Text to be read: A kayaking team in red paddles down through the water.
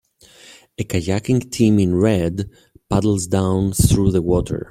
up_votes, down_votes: 2, 0